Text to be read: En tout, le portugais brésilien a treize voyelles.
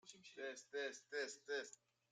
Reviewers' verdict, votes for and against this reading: rejected, 0, 2